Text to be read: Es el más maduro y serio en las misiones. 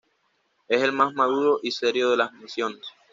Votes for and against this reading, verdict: 1, 2, rejected